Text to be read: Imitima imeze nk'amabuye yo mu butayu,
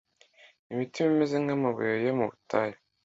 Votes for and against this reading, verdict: 2, 0, accepted